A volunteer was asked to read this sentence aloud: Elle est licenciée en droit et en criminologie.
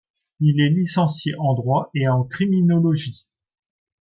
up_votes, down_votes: 1, 2